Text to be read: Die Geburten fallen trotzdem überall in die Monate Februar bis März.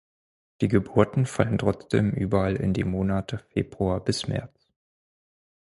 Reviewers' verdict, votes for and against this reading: rejected, 2, 4